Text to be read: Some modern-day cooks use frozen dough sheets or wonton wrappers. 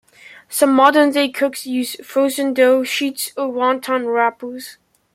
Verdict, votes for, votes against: rejected, 1, 2